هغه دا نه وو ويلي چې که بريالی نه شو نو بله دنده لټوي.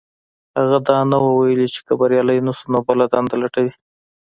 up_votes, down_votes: 2, 1